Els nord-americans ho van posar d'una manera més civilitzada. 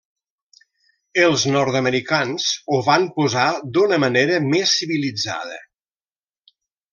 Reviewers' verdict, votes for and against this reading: accepted, 3, 0